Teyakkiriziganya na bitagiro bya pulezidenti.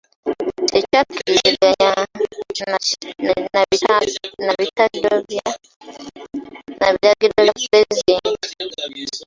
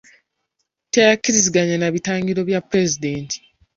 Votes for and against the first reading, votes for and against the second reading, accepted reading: 0, 2, 2, 0, second